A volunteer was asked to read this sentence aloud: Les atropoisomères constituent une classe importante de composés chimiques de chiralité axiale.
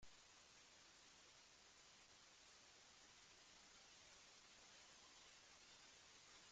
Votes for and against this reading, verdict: 0, 2, rejected